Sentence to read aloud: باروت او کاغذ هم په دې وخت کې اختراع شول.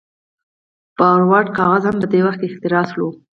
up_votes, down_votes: 0, 4